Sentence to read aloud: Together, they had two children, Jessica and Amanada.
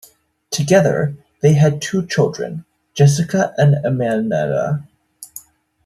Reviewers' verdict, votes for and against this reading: rejected, 1, 2